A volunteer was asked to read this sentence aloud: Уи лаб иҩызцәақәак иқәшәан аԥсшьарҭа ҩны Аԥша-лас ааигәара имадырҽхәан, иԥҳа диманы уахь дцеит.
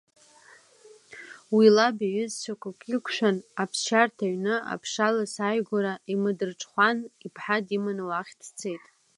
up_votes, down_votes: 2, 0